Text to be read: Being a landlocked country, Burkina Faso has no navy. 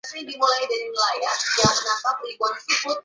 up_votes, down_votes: 0, 2